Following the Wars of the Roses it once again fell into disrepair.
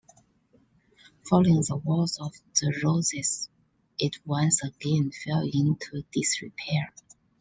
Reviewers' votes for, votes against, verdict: 2, 0, accepted